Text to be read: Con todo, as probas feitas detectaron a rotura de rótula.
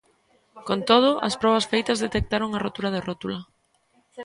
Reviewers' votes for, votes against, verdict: 2, 0, accepted